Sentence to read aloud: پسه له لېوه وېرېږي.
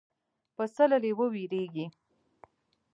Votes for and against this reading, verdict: 2, 1, accepted